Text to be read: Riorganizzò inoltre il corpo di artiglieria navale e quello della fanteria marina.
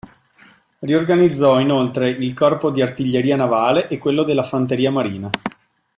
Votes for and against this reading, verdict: 2, 0, accepted